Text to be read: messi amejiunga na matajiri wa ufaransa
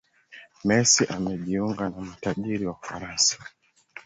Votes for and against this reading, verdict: 6, 0, accepted